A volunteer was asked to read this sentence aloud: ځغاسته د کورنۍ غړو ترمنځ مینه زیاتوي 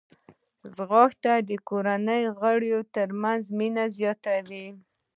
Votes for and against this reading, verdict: 2, 0, accepted